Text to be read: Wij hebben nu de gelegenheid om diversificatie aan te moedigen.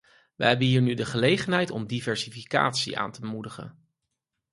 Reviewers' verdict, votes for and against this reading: rejected, 0, 4